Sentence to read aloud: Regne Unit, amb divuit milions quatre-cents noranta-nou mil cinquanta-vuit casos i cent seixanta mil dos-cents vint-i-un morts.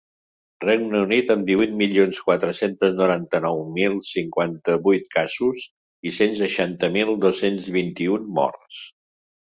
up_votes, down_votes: 0, 2